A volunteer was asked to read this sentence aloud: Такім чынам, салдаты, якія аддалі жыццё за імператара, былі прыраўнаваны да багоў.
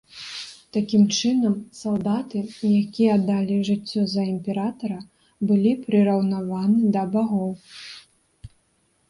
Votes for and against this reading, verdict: 2, 0, accepted